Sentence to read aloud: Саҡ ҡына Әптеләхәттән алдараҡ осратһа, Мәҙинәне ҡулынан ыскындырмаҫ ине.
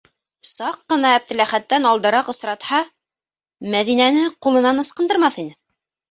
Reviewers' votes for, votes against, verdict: 2, 0, accepted